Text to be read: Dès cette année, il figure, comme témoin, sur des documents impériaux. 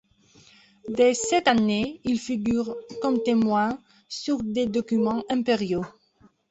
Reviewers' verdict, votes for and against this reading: accepted, 2, 0